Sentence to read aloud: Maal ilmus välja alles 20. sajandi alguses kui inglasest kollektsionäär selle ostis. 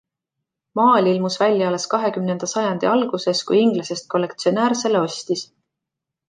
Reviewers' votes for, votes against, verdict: 0, 2, rejected